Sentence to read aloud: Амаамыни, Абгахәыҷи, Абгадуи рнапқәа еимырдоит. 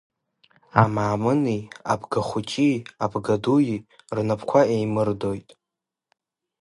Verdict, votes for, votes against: accepted, 2, 0